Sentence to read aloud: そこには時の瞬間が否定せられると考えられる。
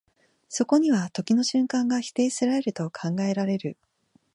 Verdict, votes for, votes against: rejected, 0, 2